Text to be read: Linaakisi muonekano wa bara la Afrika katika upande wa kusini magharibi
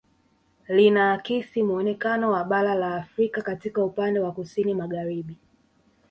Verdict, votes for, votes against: rejected, 0, 2